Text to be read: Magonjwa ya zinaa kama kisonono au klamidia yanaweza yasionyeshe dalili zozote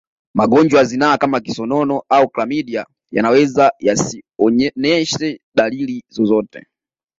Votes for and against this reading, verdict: 0, 2, rejected